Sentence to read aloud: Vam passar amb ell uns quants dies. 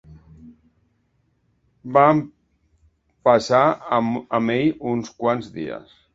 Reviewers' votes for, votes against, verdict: 0, 2, rejected